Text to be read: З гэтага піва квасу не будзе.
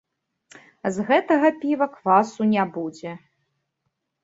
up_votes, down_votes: 1, 2